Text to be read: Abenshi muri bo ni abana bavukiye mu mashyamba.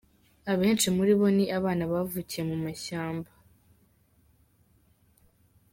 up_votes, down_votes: 2, 0